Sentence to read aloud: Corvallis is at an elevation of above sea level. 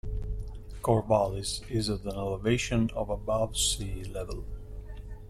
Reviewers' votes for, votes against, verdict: 0, 2, rejected